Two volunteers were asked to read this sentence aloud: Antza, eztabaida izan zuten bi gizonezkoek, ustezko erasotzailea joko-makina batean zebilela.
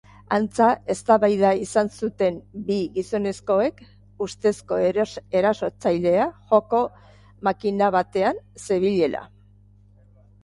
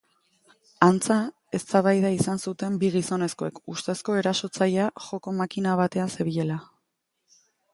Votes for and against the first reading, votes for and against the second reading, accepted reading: 1, 3, 2, 0, second